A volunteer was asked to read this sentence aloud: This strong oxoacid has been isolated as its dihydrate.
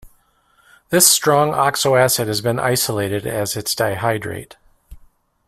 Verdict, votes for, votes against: accepted, 2, 0